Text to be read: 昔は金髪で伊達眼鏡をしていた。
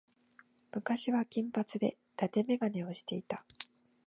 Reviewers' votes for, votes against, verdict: 3, 0, accepted